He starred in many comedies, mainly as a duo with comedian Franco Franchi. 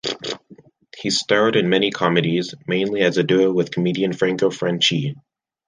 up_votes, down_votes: 2, 0